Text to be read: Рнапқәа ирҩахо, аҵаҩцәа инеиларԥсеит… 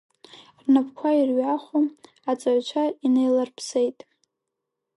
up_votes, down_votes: 1, 2